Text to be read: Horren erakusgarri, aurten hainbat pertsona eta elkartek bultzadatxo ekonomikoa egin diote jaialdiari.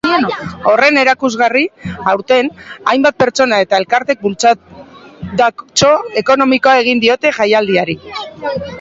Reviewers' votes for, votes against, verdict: 1, 2, rejected